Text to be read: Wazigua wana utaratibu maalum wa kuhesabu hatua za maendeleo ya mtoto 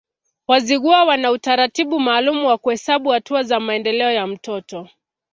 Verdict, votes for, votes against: accepted, 2, 0